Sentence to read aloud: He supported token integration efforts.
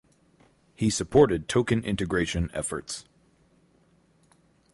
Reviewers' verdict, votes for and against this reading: accepted, 4, 0